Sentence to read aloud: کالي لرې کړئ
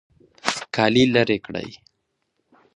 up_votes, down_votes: 2, 0